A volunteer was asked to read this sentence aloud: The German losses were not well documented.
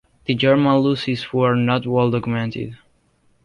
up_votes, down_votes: 1, 2